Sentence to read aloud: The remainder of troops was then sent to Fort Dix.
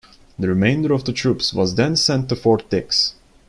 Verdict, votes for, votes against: rejected, 1, 2